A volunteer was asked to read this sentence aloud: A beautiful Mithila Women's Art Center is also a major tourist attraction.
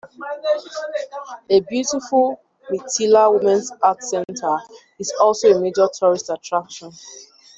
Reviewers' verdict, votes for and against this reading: rejected, 1, 2